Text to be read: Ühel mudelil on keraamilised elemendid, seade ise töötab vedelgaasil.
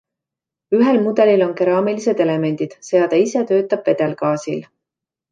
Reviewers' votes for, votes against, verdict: 2, 0, accepted